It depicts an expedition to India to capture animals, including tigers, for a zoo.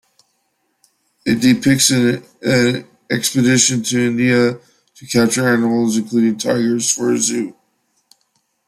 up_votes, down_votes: 0, 2